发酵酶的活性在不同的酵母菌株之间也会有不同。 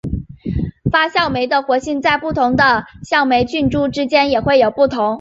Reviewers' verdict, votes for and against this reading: accepted, 2, 1